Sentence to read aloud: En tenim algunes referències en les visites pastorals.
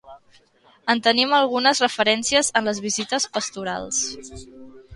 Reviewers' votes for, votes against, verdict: 2, 0, accepted